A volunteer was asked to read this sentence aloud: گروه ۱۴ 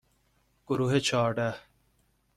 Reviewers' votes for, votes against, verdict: 0, 2, rejected